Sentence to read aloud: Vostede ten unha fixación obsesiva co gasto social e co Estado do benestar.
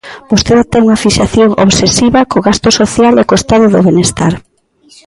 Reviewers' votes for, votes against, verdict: 1, 2, rejected